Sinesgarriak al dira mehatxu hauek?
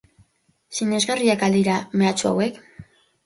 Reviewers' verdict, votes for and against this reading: accepted, 4, 0